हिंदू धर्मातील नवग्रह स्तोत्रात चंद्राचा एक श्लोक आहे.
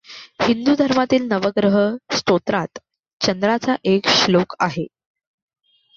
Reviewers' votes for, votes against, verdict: 2, 0, accepted